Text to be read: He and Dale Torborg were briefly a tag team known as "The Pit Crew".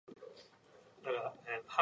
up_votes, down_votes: 0, 2